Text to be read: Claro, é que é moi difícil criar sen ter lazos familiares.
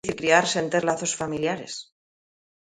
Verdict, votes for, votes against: rejected, 0, 2